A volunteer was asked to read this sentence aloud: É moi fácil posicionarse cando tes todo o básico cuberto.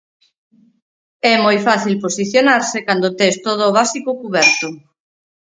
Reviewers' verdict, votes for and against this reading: accepted, 4, 0